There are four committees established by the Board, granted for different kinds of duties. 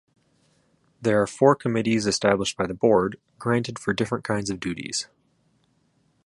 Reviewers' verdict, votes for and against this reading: accepted, 2, 0